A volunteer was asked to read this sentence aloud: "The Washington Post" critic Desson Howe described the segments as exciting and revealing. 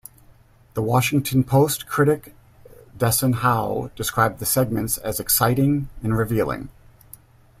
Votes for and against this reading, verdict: 2, 0, accepted